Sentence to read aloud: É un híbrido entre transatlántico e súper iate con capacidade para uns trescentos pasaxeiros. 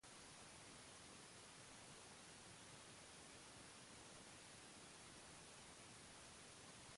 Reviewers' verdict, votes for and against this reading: rejected, 0, 2